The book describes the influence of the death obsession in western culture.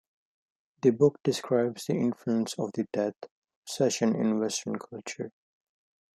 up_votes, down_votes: 0, 2